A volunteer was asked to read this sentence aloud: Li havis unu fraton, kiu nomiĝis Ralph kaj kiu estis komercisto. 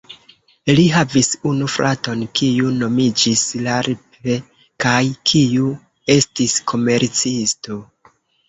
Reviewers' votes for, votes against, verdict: 0, 2, rejected